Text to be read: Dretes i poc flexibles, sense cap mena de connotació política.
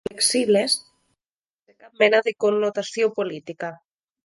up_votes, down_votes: 0, 3